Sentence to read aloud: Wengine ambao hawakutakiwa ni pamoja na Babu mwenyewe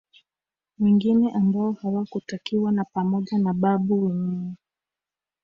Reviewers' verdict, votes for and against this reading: accepted, 2, 1